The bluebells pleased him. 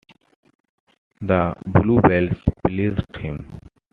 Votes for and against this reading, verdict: 2, 1, accepted